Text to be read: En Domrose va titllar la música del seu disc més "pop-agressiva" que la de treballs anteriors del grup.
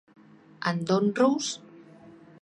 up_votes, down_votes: 0, 2